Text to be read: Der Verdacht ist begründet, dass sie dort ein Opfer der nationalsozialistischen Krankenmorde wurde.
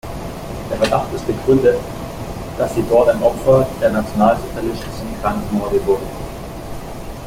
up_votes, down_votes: 0, 3